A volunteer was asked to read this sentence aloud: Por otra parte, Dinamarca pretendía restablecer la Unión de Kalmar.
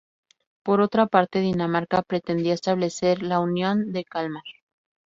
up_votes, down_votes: 0, 2